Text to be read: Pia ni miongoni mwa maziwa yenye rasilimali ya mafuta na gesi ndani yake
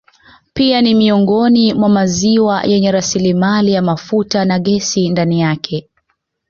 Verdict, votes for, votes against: accepted, 2, 0